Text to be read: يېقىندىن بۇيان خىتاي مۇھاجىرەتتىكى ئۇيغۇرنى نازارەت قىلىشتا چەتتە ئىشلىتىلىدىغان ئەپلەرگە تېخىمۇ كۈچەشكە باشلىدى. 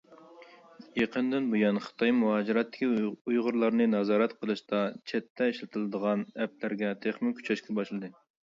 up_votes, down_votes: 0, 2